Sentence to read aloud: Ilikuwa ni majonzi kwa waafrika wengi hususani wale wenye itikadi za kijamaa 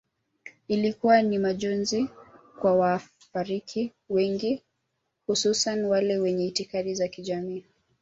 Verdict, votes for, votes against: rejected, 0, 2